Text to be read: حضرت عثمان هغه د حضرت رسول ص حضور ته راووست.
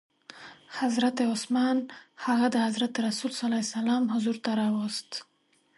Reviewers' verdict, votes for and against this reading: accepted, 2, 0